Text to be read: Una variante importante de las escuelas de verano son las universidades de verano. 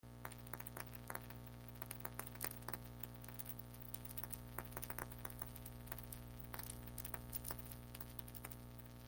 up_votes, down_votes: 0, 2